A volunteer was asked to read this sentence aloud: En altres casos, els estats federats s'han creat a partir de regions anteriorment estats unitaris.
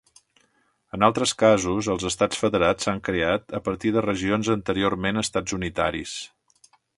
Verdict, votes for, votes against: accepted, 3, 0